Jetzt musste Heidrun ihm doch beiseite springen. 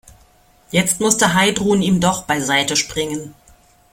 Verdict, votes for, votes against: accepted, 2, 0